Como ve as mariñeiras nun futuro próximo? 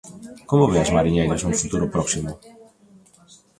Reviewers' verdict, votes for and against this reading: accepted, 2, 1